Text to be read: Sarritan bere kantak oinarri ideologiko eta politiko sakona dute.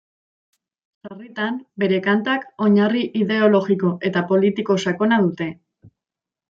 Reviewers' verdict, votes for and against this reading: rejected, 1, 2